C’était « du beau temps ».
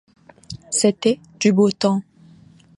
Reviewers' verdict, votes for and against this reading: accepted, 2, 1